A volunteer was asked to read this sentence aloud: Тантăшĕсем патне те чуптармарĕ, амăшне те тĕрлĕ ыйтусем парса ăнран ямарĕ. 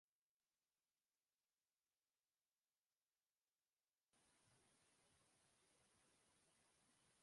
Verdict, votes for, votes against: rejected, 0, 2